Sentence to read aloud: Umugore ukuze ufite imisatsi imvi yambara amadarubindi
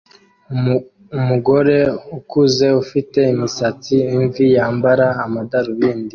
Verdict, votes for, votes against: rejected, 1, 2